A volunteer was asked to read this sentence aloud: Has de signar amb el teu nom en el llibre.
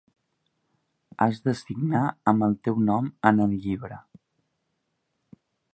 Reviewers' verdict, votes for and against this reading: accepted, 2, 0